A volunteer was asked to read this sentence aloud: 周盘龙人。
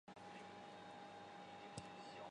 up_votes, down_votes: 2, 0